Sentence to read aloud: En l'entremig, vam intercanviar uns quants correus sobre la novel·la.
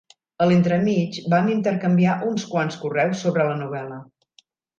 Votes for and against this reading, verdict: 1, 2, rejected